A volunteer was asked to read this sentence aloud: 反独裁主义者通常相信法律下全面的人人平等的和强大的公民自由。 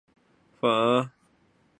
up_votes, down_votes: 2, 4